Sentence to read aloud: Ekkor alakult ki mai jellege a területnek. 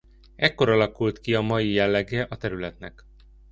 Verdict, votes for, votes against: rejected, 0, 2